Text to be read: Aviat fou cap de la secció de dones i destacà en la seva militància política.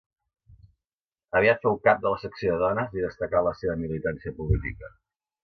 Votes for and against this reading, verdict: 2, 0, accepted